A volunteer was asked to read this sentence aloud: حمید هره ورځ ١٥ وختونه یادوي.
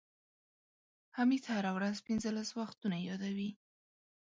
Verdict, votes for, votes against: rejected, 0, 2